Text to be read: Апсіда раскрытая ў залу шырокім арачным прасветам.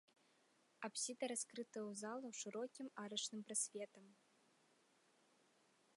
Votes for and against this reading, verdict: 2, 0, accepted